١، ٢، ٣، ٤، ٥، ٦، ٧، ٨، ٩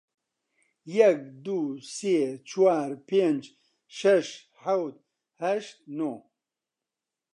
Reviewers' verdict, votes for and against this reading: rejected, 0, 2